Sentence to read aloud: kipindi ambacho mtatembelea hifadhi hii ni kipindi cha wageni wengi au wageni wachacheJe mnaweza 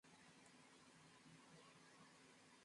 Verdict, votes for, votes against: rejected, 0, 12